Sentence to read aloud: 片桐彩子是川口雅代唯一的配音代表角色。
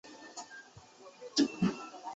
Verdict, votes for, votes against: accepted, 4, 0